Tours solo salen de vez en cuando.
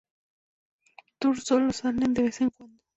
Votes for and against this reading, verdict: 0, 2, rejected